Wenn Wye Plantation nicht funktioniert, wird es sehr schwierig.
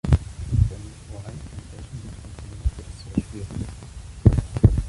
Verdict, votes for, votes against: rejected, 0, 3